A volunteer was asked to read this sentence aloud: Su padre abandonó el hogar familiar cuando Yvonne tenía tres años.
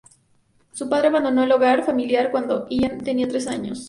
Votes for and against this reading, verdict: 0, 2, rejected